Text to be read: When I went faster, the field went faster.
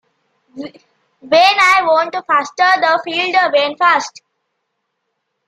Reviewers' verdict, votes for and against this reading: rejected, 0, 2